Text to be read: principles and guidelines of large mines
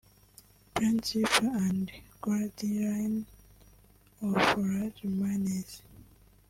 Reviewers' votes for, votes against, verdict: 1, 2, rejected